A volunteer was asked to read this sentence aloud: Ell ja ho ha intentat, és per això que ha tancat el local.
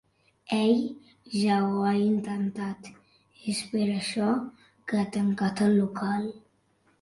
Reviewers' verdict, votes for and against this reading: accepted, 2, 0